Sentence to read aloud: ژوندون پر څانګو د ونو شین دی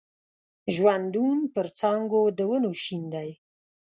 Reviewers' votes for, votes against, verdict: 2, 0, accepted